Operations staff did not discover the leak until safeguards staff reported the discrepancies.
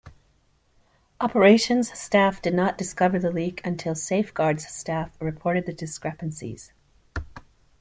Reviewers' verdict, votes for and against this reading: accepted, 2, 0